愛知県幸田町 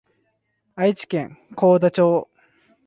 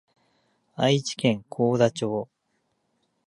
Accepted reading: first